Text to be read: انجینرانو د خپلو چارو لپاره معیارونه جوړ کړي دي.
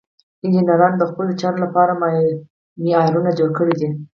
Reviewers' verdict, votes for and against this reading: accepted, 4, 0